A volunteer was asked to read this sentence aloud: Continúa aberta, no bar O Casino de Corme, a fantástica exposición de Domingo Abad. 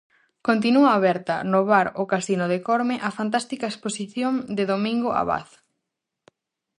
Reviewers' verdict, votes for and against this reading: accepted, 4, 0